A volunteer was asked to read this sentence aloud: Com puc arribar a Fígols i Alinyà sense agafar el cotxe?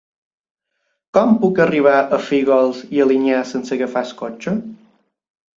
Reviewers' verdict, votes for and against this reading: accepted, 2, 0